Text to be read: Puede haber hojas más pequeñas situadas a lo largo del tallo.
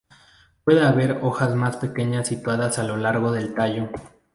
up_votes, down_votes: 2, 0